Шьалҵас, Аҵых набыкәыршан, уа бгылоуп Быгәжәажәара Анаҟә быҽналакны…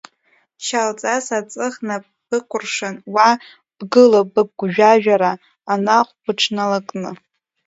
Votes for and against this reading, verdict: 1, 2, rejected